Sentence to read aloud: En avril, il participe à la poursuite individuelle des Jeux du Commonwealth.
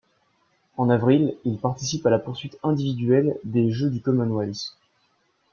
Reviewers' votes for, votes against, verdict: 2, 0, accepted